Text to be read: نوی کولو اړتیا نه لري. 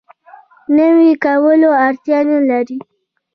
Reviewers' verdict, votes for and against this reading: rejected, 1, 2